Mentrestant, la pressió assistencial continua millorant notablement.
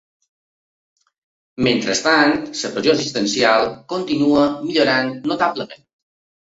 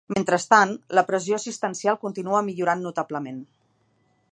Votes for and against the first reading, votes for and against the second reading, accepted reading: 1, 2, 2, 0, second